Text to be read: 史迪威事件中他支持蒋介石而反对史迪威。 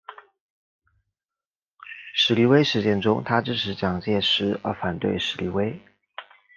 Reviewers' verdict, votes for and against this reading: accepted, 2, 0